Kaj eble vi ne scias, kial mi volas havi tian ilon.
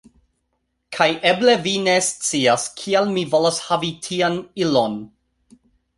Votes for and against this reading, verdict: 2, 0, accepted